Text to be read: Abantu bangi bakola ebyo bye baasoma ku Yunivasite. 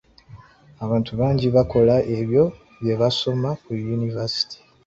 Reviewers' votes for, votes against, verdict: 2, 0, accepted